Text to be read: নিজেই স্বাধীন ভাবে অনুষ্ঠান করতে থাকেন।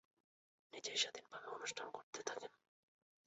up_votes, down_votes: 7, 9